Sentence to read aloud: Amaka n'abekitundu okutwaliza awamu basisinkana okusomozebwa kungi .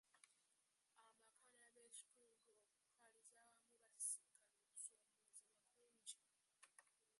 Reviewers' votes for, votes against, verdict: 0, 2, rejected